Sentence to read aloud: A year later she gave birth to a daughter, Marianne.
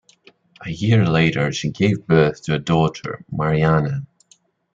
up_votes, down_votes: 2, 0